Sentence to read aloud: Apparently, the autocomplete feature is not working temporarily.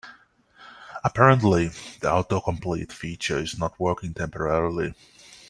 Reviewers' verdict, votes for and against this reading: accepted, 2, 0